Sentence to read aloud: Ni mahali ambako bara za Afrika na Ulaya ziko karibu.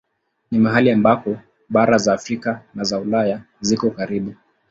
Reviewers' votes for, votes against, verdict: 2, 0, accepted